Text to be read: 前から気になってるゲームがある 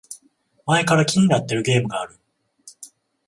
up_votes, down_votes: 14, 0